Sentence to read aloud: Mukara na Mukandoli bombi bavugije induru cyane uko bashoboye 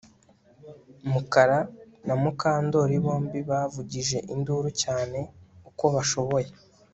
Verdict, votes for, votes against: accepted, 2, 0